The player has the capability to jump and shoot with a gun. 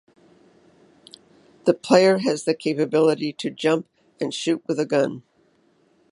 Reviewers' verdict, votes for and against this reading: accepted, 2, 0